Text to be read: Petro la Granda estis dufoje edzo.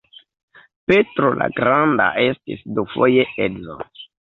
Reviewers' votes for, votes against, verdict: 0, 2, rejected